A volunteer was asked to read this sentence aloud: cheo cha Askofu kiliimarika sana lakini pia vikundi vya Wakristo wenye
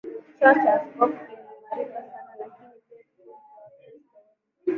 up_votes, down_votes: 0, 2